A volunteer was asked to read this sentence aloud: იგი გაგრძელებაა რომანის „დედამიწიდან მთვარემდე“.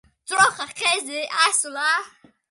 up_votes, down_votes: 0, 2